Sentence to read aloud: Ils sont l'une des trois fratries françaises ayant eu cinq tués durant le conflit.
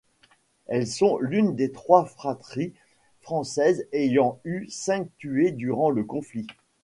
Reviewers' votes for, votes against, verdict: 1, 2, rejected